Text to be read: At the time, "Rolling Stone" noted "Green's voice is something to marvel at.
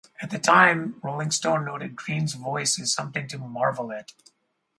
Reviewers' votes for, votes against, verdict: 2, 0, accepted